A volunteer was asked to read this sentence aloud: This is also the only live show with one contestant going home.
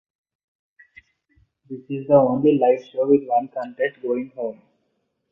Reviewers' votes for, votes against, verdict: 0, 2, rejected